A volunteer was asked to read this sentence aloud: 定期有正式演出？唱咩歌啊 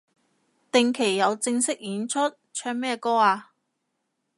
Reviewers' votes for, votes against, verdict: 2, 0, accepted